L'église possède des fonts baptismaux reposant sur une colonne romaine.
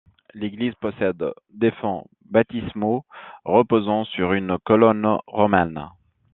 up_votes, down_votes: 2, 0